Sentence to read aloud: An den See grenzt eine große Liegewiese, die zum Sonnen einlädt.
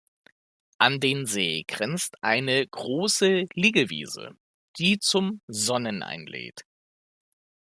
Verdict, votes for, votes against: accepted, 2, 0